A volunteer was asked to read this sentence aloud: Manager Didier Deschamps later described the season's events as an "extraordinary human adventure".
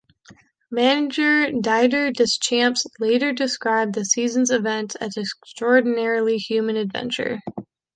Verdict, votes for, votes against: rejected, 1, 2